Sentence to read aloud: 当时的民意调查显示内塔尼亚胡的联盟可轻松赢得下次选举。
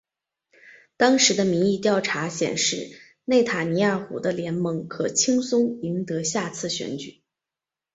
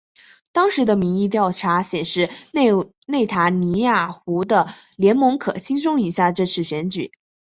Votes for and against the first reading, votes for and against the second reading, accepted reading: 2, 0, 2, 2, first